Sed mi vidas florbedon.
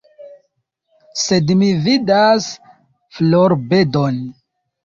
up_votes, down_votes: 2, 0